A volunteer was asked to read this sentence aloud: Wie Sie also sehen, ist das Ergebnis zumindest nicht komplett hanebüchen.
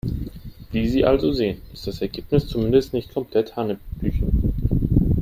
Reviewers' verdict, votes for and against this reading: accepted, 3, 0